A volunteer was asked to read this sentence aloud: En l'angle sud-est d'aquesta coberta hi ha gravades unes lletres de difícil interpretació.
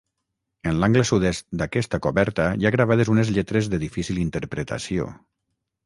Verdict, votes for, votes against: accepted, 6, 0